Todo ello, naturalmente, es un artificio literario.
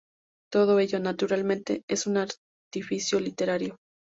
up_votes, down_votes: 2, 0